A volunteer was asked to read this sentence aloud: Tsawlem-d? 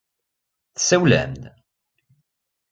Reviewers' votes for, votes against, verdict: 2, 0, accepted